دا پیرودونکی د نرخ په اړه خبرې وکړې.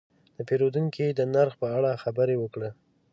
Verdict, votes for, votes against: accepted, 2, 0